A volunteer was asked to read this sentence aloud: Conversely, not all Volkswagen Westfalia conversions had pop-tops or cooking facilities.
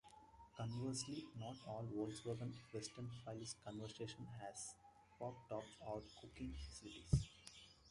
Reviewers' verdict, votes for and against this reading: accepted, 2, 1